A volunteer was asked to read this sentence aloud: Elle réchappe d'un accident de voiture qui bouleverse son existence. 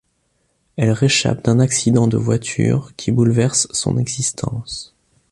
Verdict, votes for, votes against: accepted, 2, 0